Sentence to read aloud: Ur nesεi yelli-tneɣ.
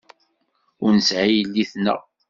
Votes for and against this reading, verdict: 2, 1, accepted